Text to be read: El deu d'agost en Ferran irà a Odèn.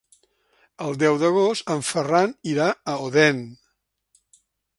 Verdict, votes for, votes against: accepted, 3, 0